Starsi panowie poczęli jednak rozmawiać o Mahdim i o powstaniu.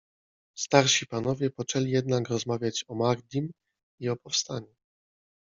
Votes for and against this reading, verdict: 0, 2, rejected